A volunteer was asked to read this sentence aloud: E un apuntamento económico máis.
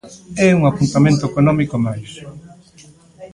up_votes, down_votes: 2, 0